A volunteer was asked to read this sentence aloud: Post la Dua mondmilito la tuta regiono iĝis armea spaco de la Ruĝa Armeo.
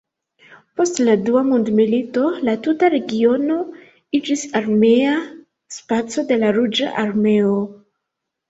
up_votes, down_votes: 2, 0